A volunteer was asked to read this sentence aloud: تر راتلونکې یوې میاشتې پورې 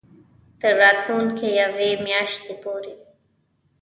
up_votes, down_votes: 0, 2